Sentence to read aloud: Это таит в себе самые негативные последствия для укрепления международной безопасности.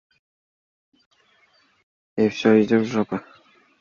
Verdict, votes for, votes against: rejected, 0, 2